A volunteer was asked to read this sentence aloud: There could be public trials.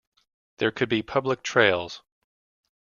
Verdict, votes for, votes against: rejected, 0, 2